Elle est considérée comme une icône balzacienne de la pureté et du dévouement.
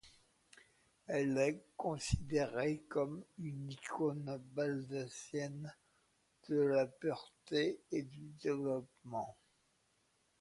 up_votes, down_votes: 0, 2